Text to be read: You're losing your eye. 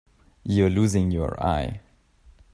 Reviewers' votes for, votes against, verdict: 4, 0, accepted